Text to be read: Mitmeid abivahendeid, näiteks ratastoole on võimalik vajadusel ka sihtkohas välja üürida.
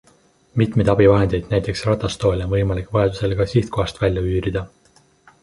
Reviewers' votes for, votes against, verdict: 3, 0, accepted